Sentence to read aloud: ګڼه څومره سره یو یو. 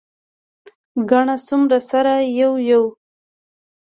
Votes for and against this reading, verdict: 0, 2, rejected